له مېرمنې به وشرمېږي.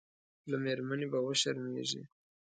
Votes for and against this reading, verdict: 2, 0, accepted